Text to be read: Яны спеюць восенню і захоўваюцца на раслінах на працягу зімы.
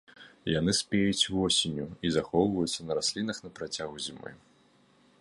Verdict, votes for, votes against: accepted, 2, 0